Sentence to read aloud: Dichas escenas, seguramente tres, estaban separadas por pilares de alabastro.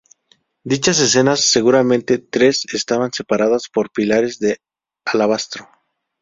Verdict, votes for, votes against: accepted, 2, 0